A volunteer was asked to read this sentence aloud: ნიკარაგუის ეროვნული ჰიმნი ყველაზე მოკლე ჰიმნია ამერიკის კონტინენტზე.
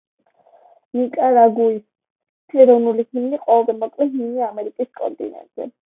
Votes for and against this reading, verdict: 1, 2, rejected